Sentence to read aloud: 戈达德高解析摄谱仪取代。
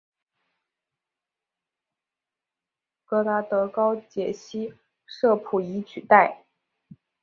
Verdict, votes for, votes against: accepted, 3, 0